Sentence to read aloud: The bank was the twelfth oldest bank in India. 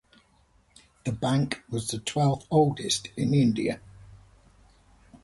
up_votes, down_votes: 0, 2